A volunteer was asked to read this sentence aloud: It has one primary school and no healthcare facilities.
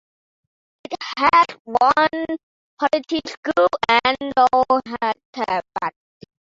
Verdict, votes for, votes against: rejected, 0, 2